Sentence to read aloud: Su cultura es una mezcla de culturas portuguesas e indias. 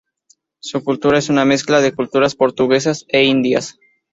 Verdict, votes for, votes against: rejected, 2, 2